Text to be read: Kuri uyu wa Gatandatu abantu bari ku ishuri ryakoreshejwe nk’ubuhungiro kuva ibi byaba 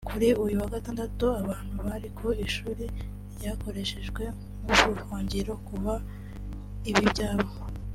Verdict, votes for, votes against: rejected, 1, 2